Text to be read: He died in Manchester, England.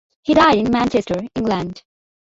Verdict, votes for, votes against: accepted, 2, 0